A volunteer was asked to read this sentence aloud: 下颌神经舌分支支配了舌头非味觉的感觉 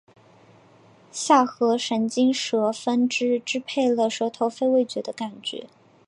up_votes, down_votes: 2, 0